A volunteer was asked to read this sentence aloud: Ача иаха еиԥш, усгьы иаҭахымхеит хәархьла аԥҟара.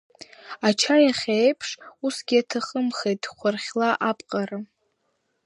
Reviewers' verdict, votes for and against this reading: rejected, 1, 2